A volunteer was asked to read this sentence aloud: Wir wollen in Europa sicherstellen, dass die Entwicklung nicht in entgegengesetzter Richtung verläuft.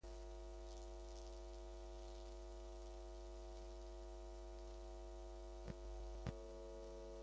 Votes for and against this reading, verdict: 0, 2, rejected